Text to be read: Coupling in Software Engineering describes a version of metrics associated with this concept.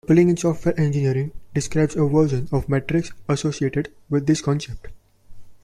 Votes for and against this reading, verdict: 0, 2, rejected